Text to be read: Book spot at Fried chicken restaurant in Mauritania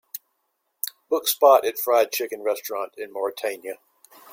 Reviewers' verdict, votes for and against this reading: accepted, 2, 1